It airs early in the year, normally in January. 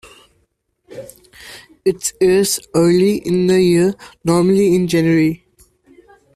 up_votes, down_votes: 2, 0